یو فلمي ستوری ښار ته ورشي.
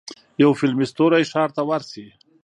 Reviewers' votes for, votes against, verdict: 1, 2, rejected